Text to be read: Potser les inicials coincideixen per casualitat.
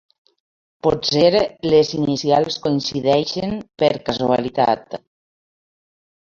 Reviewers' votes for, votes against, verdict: 1, 2, rejected